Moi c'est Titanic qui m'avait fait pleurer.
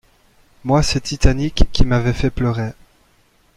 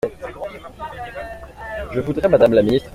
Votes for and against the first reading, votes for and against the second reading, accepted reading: 2, 1, 0, 2, first